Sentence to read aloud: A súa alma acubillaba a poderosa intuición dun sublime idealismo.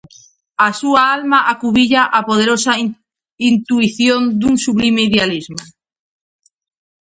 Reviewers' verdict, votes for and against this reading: rejected, 0, 2